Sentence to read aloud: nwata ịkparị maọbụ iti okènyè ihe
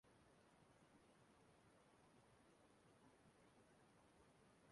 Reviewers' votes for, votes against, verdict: 1, 2, rejected